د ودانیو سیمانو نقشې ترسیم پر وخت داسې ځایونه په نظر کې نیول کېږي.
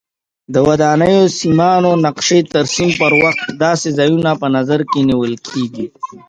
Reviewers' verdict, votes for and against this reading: accepted, 2, 0